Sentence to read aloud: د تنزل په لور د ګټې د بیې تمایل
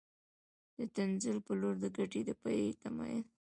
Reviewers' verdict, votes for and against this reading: accepted, 2, 0